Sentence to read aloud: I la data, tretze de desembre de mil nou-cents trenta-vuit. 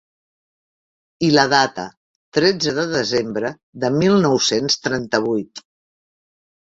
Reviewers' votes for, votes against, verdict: 3, 0, accepted